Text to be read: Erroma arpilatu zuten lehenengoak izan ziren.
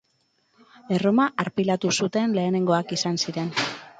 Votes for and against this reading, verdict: 2, 0, accepted